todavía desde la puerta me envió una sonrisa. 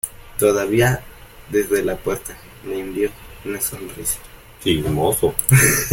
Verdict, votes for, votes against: rejected, 1, 3